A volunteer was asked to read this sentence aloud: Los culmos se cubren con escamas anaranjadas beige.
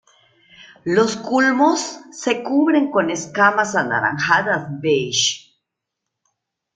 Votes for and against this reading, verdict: 2, 0, accepted